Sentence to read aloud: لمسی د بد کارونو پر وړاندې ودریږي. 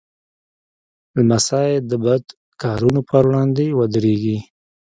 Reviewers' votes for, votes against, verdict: 1, 2, rejected